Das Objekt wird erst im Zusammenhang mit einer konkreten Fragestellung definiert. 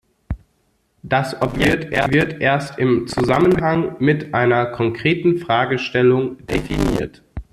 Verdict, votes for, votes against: rejected, 0, 2